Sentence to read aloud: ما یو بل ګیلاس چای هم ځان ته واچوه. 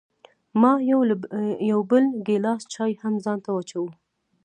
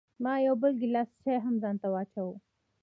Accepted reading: first